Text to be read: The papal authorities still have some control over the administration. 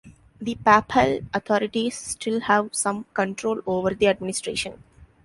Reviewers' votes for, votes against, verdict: 1, 2, rejected